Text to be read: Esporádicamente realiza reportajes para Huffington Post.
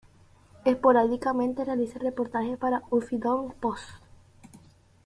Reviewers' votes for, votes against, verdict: 2, 0, accepted